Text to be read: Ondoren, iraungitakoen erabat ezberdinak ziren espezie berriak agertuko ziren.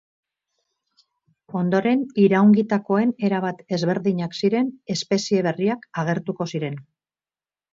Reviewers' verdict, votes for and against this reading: rejected, 2, 2